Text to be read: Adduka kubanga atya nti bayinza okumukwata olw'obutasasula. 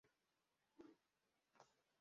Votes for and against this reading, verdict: 0, 2, rejected